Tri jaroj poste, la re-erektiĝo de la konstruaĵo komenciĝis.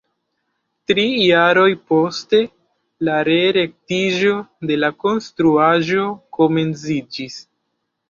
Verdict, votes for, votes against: rejected, 1, 2